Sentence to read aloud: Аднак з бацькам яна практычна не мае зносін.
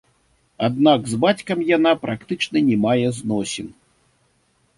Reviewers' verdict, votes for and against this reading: accepted, 2, 0